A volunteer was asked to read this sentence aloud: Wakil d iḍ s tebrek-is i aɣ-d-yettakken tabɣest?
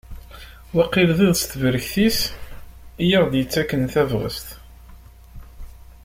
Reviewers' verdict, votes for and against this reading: rejected, 1, 2